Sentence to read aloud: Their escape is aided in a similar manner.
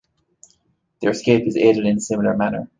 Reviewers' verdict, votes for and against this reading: accepted, 2, 1